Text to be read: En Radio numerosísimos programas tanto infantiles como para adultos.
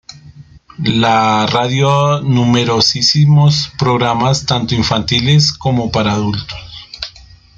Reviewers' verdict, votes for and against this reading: rejected, 0, 2